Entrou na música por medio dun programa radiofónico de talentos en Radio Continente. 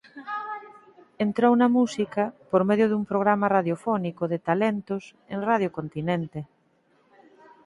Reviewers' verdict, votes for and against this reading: accepted, 4, 0